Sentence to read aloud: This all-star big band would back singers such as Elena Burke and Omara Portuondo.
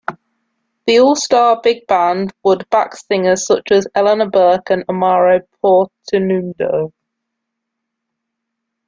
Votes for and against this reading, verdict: 1, 2, rejected